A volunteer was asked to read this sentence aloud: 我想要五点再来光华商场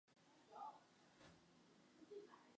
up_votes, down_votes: 0, 3